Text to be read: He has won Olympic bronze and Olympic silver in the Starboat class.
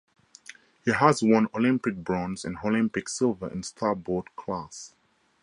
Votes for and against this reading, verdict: 0, 2, rejected